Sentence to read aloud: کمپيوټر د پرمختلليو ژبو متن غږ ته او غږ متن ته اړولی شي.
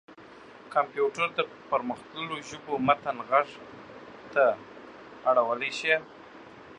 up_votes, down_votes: 0, 2